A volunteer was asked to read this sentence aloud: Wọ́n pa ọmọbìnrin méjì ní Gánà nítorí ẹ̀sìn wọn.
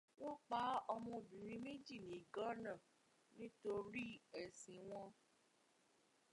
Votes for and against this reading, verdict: 1, 2, rejected